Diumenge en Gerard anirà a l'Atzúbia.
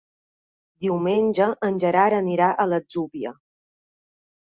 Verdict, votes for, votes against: accepted, 2, 0